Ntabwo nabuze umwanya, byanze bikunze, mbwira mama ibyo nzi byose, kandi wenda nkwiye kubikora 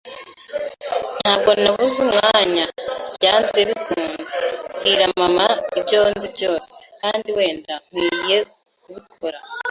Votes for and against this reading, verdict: 2, 0, accepted